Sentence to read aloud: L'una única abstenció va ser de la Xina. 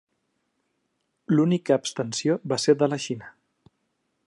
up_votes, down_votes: 1, 2